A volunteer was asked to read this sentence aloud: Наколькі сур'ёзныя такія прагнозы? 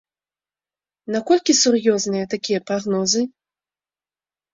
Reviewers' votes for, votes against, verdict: 2, 0, accepted